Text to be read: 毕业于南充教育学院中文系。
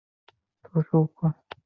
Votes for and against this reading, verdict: 0, 5, rejected